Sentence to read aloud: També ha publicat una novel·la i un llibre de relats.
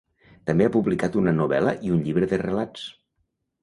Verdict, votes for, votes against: accepted, 2, 0